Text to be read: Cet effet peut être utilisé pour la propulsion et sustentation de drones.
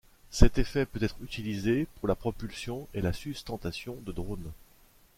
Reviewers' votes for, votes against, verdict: 0, 2, rejected